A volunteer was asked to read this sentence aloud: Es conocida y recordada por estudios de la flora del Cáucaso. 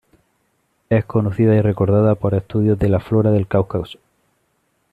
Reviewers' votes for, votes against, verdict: 2, 0, accepted